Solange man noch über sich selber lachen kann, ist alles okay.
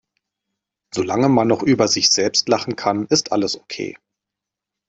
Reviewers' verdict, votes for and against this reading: accepted, 2, 1